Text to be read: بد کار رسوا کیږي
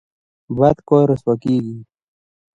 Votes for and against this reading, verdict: 0, 2, rejected